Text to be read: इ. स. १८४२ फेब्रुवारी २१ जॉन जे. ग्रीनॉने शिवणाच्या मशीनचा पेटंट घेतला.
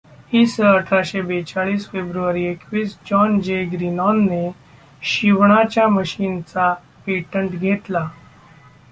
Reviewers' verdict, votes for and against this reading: rejected, 0, 2